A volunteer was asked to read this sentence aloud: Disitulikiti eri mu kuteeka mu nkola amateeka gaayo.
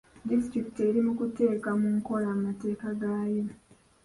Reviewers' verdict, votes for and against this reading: rejected, 1, 2